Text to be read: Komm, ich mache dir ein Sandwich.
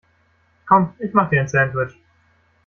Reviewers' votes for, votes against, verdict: 0, 2, rejected